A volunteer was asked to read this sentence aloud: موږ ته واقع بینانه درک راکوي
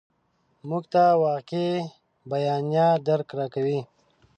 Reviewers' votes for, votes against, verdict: 1, 2, rejected